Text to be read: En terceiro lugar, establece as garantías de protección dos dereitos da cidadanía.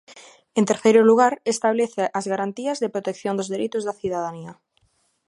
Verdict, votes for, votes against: accepted, 2, 0